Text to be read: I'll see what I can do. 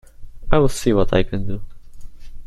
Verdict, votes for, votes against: accepted, 2, 1